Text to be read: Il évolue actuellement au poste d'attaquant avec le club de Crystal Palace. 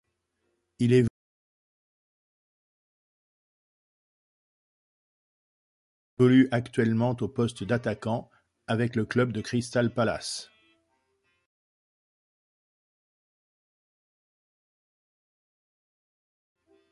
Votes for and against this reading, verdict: 0, 2, rejected